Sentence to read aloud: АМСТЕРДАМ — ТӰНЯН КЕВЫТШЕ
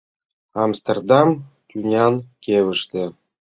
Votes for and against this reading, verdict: 0, 2, rejected